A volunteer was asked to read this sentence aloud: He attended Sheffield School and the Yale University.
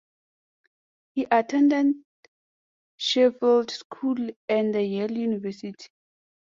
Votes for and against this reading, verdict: 1, 2, rejected